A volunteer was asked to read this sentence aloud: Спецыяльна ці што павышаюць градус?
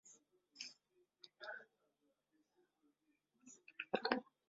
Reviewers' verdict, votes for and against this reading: rejected, 0, 2